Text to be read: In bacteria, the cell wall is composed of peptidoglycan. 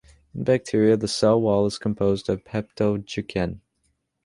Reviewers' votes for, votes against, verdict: 0, 2, rejected